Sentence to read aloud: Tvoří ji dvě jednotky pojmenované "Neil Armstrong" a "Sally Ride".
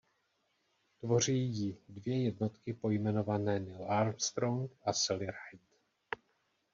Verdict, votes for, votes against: rejected, 1, 2